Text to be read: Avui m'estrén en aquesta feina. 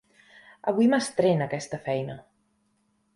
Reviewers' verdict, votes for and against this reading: rejected, 0, 2